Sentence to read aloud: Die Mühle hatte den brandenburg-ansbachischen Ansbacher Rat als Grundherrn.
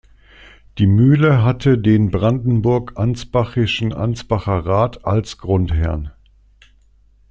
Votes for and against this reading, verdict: 2, 0, accepted